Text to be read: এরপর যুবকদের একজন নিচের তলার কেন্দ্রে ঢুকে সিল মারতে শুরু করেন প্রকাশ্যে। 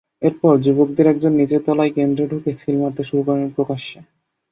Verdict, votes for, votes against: accepted, 10, 0